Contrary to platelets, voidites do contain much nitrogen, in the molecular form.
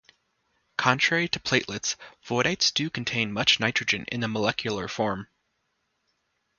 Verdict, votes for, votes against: accepted, 2, 0